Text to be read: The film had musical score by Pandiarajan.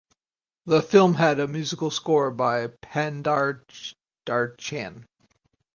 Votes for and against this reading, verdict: 0, 4, rejected